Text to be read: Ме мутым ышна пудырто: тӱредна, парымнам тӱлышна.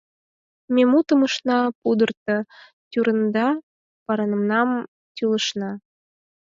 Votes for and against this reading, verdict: 0, 4, rejected